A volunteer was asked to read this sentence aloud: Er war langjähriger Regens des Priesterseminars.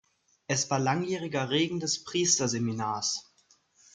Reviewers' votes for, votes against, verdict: 0, 2, rejected